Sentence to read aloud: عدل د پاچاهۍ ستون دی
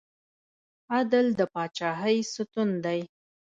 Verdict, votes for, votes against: rejected, 0, 2